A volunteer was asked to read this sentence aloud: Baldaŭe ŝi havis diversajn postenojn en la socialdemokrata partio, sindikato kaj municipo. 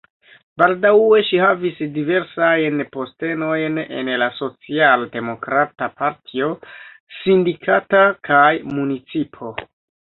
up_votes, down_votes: 2, 0